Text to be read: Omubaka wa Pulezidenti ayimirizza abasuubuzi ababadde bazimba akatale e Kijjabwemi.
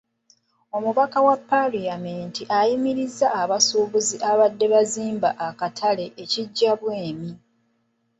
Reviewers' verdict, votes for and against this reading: rejected, 0, 2